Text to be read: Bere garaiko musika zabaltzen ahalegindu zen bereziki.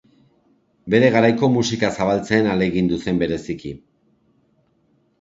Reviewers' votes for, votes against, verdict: 2, 0, accepted